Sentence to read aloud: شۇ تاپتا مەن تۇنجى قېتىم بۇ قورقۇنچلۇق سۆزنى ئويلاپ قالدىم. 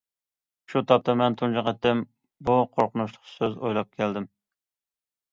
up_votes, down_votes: 0, 2